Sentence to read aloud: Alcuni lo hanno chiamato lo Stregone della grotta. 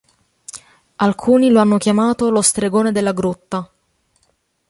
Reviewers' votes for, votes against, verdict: 3, 0, accepted